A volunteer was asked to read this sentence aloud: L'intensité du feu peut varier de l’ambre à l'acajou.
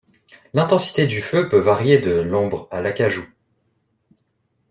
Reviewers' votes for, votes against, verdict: 2, 0, accepted